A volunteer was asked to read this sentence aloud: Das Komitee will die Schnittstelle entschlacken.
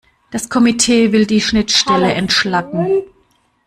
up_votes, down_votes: 2, 0